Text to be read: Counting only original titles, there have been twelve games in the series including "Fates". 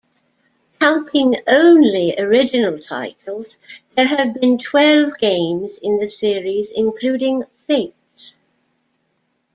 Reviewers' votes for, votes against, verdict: 2, 0, accepted